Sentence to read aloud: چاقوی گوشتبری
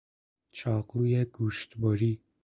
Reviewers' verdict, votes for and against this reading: accepted, 2, 0